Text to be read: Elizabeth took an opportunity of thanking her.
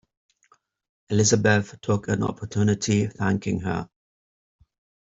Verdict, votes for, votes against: accepted, 3, 2